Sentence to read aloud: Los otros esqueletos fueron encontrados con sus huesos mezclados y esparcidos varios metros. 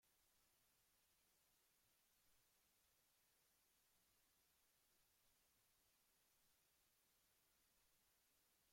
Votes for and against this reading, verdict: 0, 2, rejected